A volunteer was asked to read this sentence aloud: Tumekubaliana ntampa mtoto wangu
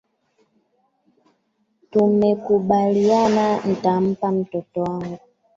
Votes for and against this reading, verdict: 0, 2, rejected